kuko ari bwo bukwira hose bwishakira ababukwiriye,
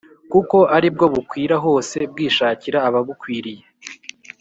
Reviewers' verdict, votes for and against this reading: accepted, 2, 0